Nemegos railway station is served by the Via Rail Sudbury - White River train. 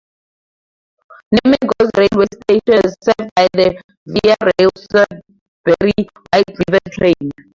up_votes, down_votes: 0, 2